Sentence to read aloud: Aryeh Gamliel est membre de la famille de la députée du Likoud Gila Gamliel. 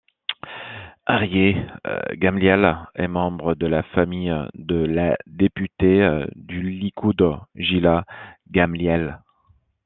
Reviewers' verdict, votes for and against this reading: accepted, 2, 0